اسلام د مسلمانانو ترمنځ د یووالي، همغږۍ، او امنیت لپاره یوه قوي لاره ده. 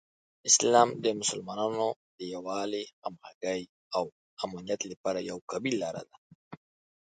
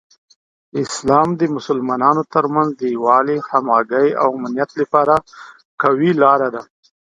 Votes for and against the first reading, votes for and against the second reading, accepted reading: 0, 2, 2, 1, second